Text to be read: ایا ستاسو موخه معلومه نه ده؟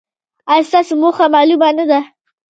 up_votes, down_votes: 0, 2